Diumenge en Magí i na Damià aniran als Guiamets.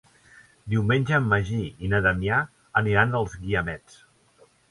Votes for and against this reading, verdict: 4, 0, accepted